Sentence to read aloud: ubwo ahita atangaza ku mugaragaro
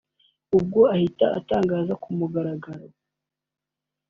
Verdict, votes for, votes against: accepted, 2, 0